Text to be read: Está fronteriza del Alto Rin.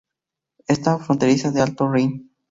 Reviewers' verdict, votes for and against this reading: accepted, 2, 0